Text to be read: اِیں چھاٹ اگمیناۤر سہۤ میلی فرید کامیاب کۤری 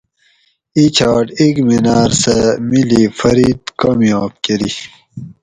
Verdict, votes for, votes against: accepted, 4, 0